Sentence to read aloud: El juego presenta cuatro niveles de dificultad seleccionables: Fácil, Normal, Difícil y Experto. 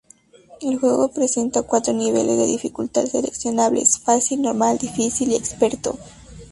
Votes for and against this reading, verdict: 0, 4, rejected